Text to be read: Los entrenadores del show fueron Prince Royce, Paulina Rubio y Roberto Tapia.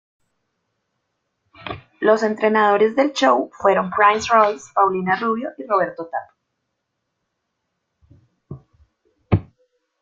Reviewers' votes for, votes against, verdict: 0, 2, rejected